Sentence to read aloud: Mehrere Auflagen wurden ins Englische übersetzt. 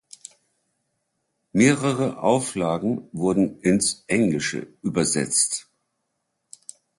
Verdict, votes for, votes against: accepted, 2, 0